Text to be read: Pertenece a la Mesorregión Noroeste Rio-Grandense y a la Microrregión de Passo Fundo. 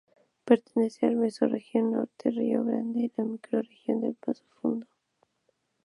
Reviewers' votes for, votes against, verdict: 0, 2, rejected